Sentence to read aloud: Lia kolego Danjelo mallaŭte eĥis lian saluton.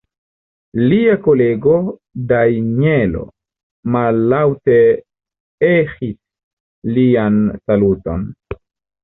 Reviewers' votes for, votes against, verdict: 1, 2, rejected